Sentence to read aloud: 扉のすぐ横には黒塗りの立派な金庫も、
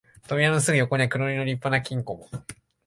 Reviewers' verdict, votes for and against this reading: accepted, 2, 0